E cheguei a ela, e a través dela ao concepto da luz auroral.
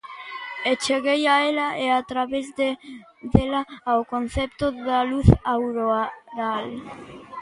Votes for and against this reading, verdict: 0, 2, rejected